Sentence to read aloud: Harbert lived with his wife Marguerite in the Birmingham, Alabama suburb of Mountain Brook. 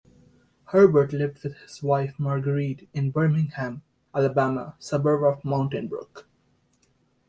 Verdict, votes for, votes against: rejected, 0, 2